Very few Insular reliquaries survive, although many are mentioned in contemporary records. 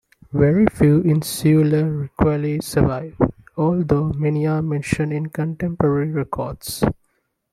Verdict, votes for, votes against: rejected, 1, 3